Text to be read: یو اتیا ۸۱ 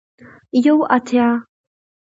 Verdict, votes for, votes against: rejected, 0, 2